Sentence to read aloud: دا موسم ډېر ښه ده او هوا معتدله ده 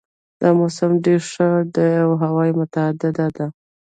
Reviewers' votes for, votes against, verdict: 2, 1, accepted